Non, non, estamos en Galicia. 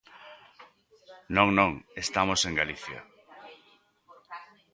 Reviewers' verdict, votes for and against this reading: accepted, 2, 0